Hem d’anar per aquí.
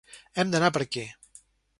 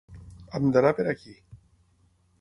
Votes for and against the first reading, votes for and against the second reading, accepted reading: 0, 2, 6, 0, second